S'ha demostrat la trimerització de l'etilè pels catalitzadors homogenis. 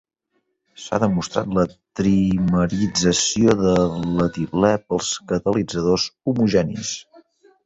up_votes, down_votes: 0, 2